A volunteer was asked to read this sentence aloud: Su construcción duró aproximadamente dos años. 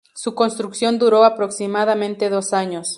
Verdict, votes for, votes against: accepted, 2, 0